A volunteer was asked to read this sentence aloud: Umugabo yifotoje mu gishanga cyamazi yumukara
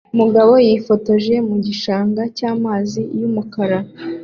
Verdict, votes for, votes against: accepted, 2, 0